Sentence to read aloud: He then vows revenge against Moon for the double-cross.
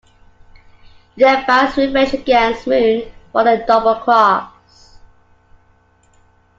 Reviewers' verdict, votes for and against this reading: rejected, 0, 2